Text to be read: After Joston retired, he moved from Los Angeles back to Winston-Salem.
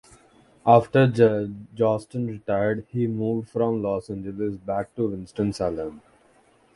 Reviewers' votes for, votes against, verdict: 1, 2, rejected